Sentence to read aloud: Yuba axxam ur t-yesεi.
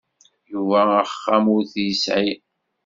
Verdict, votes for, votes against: accepted, 2, 0